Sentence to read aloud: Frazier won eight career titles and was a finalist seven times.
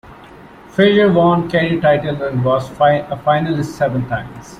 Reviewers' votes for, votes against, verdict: 0, 2, rejected